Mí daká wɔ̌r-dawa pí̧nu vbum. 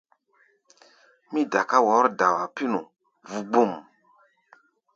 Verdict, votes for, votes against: rejected, 1, 2